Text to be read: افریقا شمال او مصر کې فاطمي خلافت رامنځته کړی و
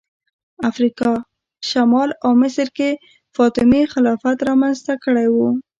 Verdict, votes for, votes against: rejected, 1, 2